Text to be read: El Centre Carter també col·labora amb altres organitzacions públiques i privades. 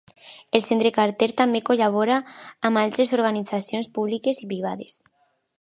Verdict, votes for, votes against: rejected, 1, 2